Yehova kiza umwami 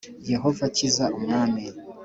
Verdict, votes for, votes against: accepted, 2, 0